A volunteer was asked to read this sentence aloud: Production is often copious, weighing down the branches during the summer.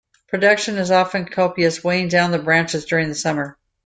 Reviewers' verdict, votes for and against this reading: accepted, 2, 0